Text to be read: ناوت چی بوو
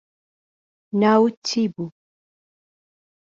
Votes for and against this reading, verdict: 2, 0, accepted